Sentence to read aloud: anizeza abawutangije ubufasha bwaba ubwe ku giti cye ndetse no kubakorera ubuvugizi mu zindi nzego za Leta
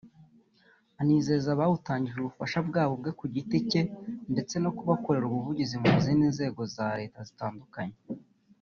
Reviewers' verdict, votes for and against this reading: rejected, 0, 2